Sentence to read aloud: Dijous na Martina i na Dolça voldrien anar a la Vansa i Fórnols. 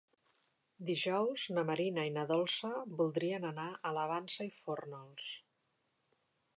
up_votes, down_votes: 0, 3